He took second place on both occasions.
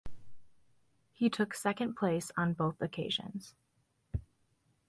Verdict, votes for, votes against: accepted, 2, 0